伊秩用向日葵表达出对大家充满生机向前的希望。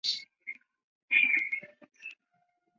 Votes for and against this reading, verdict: 0, 2, rejected